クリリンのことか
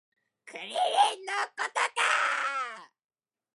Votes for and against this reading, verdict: 2, 0, accepted